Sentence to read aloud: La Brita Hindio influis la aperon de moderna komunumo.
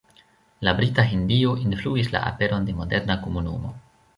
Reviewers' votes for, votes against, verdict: 1, 2, rejected